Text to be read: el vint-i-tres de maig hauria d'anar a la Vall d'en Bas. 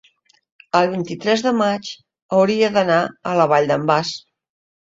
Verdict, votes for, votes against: accepted, 2, 0